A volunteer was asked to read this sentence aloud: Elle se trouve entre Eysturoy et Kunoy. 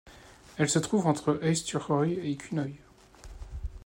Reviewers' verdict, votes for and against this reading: accepted, 2, 0